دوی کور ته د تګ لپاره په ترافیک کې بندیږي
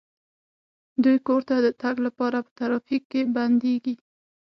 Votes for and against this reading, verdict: 6, 0, accepted